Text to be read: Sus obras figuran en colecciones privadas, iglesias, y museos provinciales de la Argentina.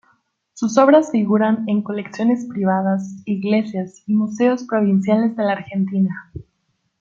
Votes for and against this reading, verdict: 2, 0, accepted